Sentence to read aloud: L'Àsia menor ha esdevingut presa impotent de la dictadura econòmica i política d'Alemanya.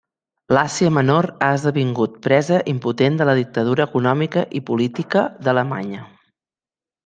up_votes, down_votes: 3, 0